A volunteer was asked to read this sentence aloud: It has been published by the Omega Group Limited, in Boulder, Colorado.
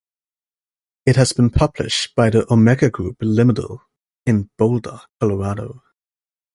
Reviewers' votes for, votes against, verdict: 2, 0, accepted